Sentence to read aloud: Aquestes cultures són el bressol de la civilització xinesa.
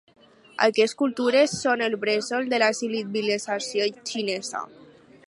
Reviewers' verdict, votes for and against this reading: rejected, 2, 2